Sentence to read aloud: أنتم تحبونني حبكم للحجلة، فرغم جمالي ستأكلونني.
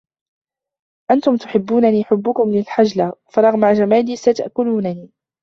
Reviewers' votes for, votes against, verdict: 0, 2, rejected